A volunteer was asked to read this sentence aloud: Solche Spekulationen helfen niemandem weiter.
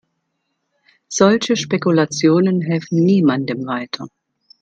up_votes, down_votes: 2, 0